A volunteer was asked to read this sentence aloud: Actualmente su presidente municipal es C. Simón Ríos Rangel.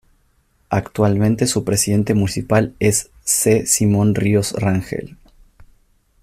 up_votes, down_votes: 2, 0